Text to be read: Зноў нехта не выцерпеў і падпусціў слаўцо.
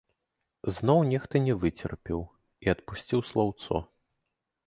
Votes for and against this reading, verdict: 1, 2, rejected